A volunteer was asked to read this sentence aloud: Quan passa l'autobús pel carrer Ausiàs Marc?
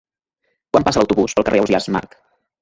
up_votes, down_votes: 0, 2